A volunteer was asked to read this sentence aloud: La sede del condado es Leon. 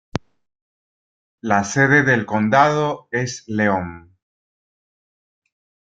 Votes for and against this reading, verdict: 3, 1, accepted